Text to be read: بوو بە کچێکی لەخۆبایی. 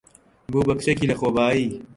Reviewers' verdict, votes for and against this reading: accepted, 2, 0